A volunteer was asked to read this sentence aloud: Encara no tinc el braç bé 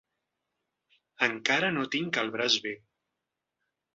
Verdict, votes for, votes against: accepted, 3, 0